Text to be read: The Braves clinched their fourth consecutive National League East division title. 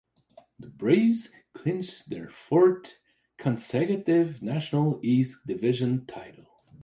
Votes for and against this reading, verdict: 0, 2, rejected